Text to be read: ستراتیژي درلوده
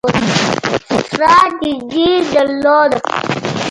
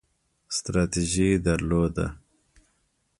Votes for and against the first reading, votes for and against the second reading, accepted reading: 0, 2, 2, 0, second